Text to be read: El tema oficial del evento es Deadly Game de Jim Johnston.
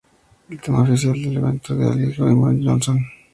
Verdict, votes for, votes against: accepted, 2, 0